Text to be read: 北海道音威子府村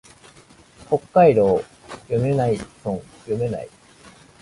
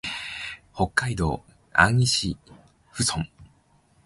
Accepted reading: second